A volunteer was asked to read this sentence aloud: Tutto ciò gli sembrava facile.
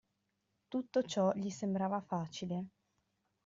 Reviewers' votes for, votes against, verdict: 2, 0, accepted